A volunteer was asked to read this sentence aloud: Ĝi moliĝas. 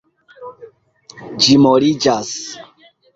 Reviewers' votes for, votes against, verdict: 2, 0, accepted